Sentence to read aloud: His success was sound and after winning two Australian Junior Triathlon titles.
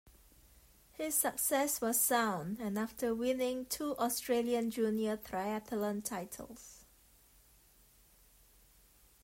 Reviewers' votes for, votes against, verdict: 2, 1, accepted